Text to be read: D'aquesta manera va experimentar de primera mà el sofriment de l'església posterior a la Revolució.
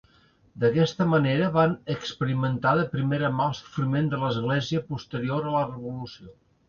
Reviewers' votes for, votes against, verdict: 1, 2, rejected